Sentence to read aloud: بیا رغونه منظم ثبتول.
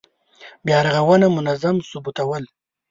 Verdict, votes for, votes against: rejected, 1, 2